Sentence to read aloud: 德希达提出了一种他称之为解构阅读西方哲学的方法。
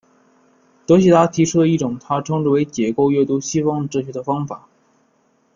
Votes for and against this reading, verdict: 0, 2, rejected